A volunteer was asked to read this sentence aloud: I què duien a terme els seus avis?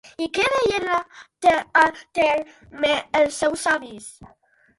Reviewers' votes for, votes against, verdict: 0, 2, rejected